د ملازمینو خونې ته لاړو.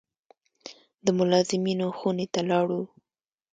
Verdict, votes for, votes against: accepted, 2, 0